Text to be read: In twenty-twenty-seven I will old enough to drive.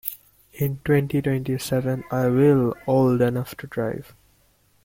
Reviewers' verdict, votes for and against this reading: accepted, 2, 0